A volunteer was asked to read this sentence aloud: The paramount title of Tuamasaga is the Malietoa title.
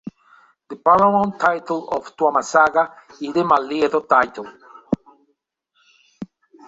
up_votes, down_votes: 2, 1